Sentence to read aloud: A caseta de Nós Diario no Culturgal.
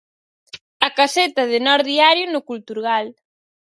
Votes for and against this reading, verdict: 4, 0, accepted